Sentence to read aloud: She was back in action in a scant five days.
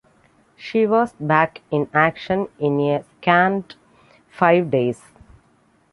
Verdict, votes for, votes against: rejected, 0, 2